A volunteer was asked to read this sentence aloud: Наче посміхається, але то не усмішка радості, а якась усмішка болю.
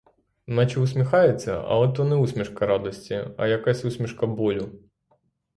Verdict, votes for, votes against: rejected, 0, 3